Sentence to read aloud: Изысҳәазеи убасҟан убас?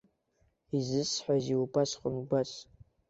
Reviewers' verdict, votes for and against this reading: accepted, 2, 0